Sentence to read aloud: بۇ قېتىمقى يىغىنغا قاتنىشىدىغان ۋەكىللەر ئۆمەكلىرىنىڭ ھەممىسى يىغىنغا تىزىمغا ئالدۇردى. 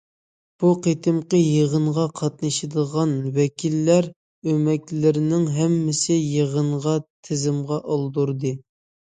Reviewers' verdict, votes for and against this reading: accepted, 2, 0